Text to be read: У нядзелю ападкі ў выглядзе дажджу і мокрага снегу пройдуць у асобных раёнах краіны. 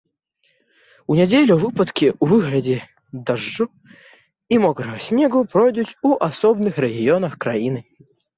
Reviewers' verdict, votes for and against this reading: rejected, 0, 2